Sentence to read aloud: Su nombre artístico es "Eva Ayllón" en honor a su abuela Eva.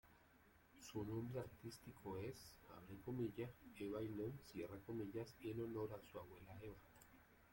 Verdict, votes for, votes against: rejected, 1, 2